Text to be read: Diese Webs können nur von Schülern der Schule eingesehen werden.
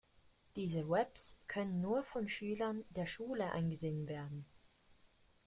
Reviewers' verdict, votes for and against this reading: accepted, 2, 0